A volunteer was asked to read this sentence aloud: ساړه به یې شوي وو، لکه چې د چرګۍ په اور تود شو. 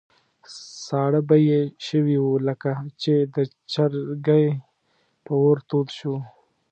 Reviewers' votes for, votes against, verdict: 1, 2, rejected